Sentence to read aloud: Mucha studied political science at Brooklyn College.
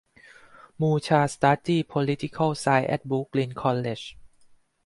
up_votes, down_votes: 2, 4